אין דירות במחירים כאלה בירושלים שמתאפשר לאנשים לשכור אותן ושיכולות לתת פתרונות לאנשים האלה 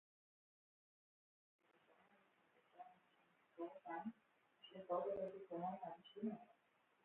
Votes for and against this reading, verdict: 0, 2, rejected